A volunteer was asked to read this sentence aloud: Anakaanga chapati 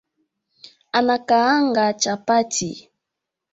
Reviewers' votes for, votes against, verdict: 2, 0, accepted